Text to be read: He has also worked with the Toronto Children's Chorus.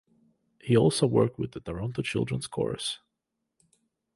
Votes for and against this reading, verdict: 1, 2, rejected